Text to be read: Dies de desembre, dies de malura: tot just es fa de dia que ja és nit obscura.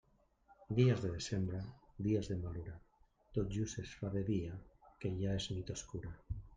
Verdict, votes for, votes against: rejected, 1, 2